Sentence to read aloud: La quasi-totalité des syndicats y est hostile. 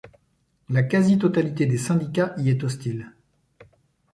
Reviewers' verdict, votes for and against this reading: accepted, 2, 0